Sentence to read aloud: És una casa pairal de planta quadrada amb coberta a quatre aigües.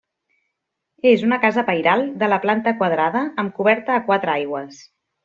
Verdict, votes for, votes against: rejected, 1, 2